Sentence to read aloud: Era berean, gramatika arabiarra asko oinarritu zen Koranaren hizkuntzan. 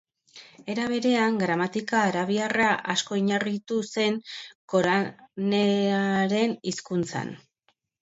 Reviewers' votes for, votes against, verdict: 3, 1, accepted